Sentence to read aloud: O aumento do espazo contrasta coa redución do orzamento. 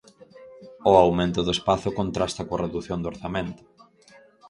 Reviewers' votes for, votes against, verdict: 2, 2, rejected